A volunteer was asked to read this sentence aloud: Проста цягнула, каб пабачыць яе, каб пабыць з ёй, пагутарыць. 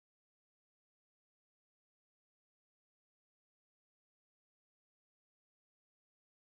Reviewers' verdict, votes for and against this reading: rejected, 0, 2